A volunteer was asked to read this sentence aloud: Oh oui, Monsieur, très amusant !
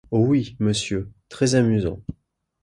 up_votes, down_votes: 2, 0